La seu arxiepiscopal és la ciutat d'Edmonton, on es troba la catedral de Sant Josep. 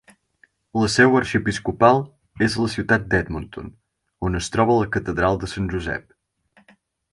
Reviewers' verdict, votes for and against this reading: accepted, 4, 0